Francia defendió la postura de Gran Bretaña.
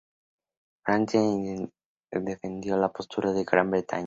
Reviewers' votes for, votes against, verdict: 0, 2, rejected